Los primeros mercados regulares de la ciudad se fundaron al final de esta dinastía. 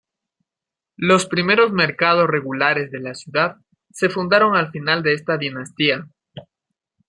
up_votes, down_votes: 2, 0